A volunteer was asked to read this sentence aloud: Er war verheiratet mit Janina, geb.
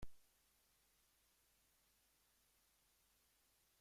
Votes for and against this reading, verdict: 0, 2, rejected